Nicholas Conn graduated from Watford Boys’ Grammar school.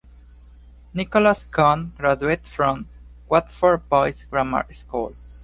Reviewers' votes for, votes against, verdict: 0, 2, rejected